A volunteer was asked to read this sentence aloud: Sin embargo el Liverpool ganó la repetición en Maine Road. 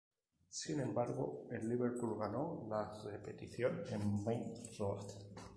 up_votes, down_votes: 0, 2